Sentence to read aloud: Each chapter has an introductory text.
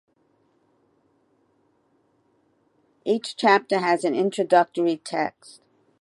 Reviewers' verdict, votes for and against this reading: accepted, 2, 0